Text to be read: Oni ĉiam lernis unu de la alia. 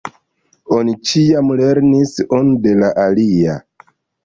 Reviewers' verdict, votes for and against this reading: accepted, 2, 0